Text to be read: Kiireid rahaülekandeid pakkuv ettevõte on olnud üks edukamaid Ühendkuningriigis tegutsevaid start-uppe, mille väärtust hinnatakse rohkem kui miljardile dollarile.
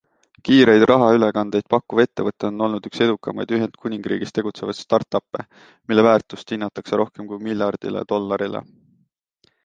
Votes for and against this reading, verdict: 2, 0, accepted